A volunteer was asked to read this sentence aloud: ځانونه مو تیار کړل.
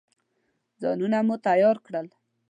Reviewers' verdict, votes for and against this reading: accepted, 2, 0